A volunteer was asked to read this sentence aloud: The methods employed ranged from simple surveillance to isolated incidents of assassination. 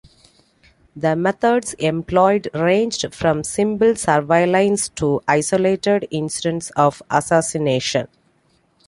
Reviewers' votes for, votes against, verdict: 2, 0, accepted